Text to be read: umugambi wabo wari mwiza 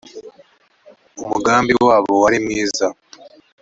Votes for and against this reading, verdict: 2, 0, accepted